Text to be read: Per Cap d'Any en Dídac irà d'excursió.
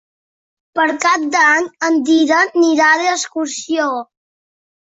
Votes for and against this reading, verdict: 0, 2, rejected